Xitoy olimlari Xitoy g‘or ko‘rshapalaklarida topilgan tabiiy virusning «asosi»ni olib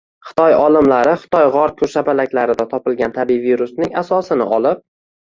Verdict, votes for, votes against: rejected, 1, 2